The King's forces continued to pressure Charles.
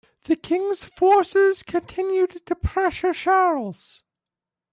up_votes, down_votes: 2, 1